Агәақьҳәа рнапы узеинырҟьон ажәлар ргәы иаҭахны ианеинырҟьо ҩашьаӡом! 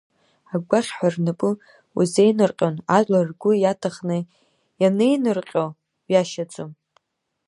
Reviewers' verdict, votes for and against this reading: rejected, 0, 2